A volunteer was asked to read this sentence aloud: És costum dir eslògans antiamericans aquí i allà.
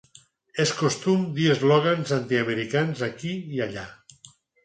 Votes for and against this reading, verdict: 4, 0, accepted